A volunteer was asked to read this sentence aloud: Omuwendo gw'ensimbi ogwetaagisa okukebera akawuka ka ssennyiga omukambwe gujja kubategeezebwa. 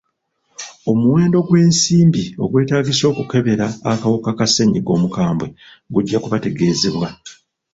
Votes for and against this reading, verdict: 1, 2, rejected